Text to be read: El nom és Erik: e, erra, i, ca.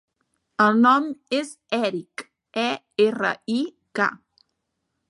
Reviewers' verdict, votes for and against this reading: accepted, 2, 1